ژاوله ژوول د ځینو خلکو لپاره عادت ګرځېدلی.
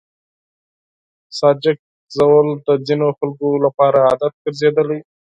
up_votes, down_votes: 0, 4